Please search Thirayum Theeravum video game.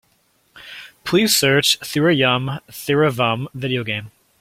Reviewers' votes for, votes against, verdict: 2, 0, accepted